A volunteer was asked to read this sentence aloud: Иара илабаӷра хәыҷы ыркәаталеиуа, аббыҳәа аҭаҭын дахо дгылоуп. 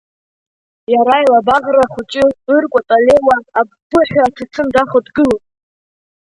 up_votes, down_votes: 0, 3